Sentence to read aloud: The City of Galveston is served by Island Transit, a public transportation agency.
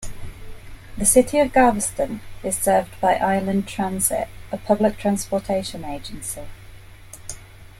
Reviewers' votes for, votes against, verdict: 2, 0, accepted